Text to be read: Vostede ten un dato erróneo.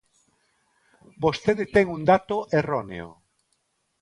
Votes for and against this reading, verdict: 2, 0, accepted